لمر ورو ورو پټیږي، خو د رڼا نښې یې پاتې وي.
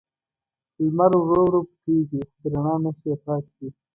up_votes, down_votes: 1, 2